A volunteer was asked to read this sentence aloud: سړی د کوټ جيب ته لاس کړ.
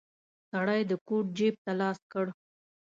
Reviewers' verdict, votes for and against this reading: accepted, 2, 0